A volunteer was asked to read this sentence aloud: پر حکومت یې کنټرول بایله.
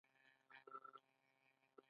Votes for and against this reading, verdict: 1, 2, rejected